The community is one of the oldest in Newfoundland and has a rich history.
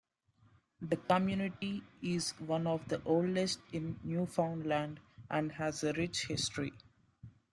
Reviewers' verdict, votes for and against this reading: accepted, 3, 0